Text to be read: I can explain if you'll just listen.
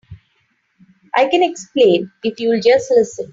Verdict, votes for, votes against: accepted, 3, 0